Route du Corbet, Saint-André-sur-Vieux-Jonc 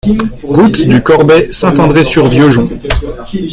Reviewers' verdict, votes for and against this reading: accepted, 2, 0